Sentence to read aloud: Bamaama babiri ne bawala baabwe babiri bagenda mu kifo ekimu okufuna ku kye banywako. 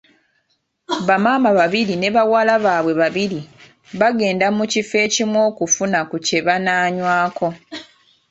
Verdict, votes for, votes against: rejected, 1, 2